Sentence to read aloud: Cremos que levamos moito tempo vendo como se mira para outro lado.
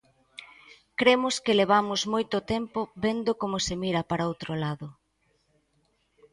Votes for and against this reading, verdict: 2, 0, accepted